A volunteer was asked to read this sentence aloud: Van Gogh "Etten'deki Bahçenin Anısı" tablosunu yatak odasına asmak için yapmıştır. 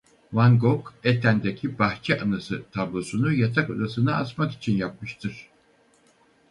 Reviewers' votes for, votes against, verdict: 2, 4, rejected